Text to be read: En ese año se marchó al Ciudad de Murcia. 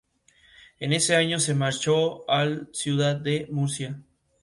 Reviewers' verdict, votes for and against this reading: accepted, 2, 0